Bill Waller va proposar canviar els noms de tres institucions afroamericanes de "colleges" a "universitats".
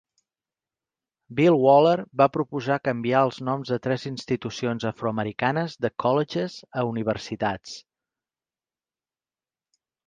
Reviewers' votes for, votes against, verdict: 3, 0, accepted